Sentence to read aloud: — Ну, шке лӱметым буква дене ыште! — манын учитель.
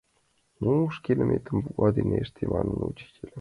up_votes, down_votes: 2, 1